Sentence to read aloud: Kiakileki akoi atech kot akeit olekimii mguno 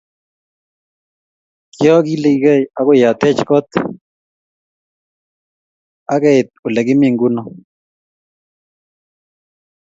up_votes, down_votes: 2, 0